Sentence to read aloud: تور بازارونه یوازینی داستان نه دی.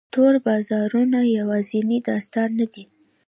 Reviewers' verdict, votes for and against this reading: accepted, 2, 0